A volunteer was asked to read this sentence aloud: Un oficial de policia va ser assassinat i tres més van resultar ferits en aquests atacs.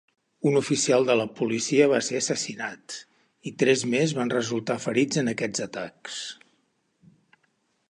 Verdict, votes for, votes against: rejected, 1, 3